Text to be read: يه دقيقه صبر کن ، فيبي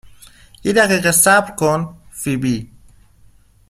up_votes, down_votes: 2, 0